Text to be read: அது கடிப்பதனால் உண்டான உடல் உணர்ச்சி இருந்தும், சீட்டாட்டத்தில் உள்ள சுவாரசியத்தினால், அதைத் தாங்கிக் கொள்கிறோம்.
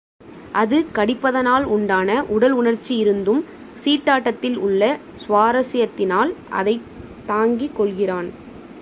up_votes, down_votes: 1, 2